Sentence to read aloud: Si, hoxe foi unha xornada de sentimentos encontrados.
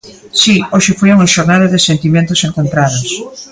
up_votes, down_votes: 1, 2